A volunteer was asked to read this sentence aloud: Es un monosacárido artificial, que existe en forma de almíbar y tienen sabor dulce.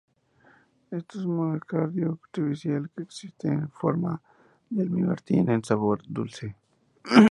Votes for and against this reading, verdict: 0, 2, rejected